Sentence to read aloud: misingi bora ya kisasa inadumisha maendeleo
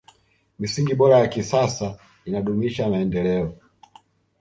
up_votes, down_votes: 0, 2